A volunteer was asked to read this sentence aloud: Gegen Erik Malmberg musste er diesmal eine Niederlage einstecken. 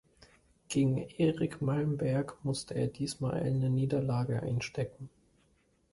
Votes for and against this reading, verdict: 2, 0, accepted